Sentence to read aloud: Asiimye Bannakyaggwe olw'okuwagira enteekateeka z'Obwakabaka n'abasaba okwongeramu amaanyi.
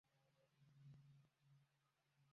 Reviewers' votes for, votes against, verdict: 0, 2, rejected